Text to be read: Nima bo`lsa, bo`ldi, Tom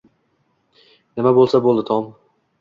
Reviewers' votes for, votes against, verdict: 2, 0, accepted